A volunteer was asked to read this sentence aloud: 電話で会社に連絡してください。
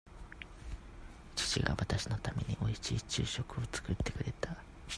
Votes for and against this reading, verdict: 0, 2, rejected